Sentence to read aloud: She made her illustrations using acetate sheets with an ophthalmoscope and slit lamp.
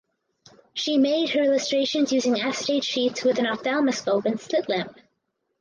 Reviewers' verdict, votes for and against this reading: accepted, 4, 2